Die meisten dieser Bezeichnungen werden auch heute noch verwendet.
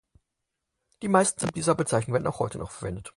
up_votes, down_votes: 4, 0